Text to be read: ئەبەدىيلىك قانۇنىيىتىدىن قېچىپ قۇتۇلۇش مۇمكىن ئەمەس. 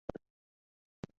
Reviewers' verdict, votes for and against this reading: rejected, 0, 2